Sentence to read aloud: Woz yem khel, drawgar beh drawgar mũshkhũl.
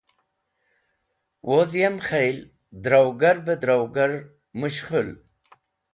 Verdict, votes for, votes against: accepted, 2, 0